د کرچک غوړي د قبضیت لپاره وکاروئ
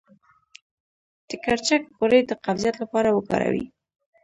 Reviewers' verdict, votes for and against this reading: accepted, 2, 0